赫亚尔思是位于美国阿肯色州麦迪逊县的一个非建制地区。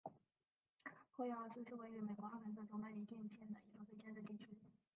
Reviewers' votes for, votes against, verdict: 0, 3, rejected